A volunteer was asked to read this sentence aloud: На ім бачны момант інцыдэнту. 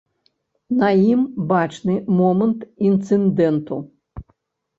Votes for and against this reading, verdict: 1, 2, rejected